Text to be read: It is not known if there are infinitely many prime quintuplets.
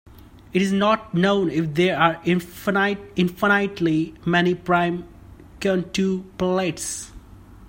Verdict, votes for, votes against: rejected, 0, 2